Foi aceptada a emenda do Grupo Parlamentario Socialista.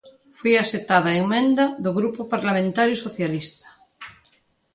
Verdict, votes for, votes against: accepted, 2, 0